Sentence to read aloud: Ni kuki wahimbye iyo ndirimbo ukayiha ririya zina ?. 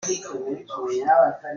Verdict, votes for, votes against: rejected, 0, 2